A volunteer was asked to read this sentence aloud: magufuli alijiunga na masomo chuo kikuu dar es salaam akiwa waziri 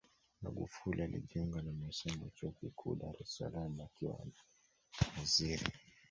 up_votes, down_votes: 1, 3